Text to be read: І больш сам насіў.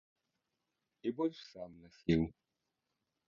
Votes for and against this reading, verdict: 1, 2, rejected